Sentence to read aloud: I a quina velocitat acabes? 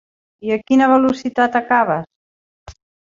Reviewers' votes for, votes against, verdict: 3, 0, accepted